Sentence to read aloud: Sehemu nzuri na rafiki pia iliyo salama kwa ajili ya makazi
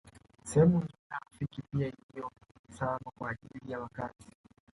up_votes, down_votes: 0, 2